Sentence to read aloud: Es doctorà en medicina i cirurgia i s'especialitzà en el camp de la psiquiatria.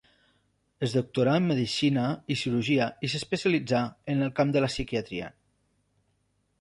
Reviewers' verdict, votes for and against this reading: accepted, 3, 0